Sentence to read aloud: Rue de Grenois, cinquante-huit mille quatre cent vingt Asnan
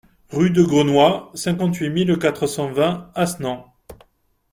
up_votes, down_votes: 2, 0